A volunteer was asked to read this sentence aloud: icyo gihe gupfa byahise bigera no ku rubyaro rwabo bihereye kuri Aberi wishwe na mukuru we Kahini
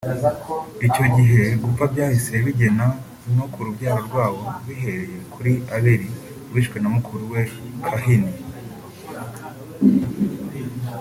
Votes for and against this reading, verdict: 2, 1, accepted